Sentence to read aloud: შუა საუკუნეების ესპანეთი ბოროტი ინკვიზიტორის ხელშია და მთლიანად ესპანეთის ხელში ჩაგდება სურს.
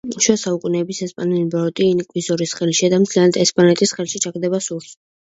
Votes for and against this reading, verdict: 1, 2, rejected